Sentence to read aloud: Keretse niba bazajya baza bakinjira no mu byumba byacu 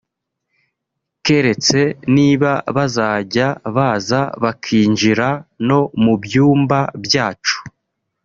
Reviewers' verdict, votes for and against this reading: accepted, 2, 1